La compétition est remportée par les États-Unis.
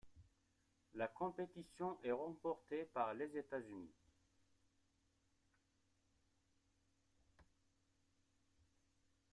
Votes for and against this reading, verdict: 2, 0, accepted